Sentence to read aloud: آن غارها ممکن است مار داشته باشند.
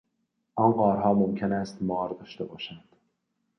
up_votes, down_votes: 2, 0